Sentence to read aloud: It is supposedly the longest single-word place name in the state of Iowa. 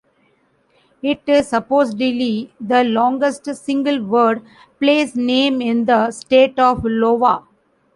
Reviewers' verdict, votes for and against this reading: rejected, 0, 2